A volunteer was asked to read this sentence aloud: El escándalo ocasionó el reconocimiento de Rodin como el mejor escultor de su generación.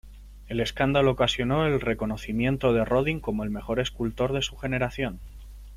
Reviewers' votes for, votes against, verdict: 3, 0, accepted